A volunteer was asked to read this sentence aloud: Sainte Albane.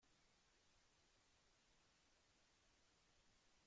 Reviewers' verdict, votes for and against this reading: rejected, 0, 2